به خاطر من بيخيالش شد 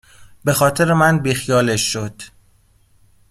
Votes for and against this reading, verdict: 2, 0, accepted